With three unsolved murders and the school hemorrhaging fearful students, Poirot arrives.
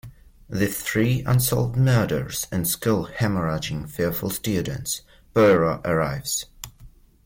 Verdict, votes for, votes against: rejected, 0, 2